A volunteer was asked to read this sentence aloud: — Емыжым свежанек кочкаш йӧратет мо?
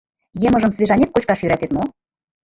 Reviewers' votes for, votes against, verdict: 1, 2, rejected